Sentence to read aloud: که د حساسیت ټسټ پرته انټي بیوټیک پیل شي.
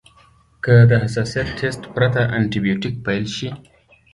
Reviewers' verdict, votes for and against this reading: accepted, 2, 0